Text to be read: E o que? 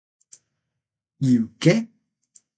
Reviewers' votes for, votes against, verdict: 6, 0, accepted